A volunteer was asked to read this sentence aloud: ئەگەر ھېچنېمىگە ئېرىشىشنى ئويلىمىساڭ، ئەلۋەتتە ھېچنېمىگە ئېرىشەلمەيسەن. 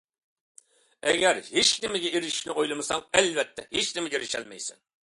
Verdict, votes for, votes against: accepted, 2, 0